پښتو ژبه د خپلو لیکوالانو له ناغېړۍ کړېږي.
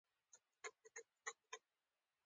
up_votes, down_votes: 1, 2